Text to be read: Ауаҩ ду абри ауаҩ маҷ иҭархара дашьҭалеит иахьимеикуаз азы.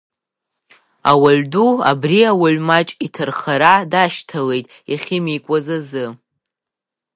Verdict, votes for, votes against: accepted, 2, 0